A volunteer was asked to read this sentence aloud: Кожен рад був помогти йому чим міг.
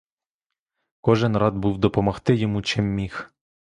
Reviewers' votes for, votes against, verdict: 0, 2, rejected